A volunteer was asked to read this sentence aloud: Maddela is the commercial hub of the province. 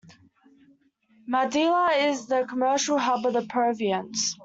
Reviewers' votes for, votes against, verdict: 0, 2, rejected